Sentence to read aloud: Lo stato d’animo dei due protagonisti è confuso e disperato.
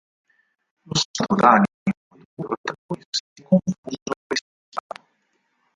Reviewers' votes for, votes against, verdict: 0, 4, rejected